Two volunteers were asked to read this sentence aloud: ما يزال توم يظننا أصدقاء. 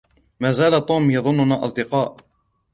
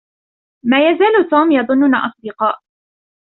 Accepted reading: second